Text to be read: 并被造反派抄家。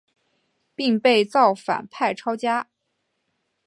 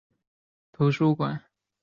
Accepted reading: first